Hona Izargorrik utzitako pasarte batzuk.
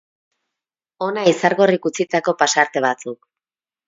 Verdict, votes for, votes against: accepted, 2, 0